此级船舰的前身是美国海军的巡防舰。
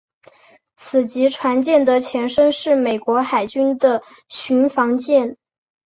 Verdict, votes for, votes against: accepted, 4, 0